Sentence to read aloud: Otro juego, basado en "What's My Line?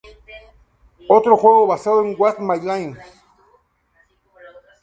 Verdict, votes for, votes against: rejected, 0, 2